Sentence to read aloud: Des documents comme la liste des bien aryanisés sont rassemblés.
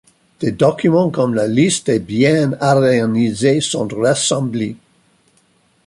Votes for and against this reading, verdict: 1, 2, rejected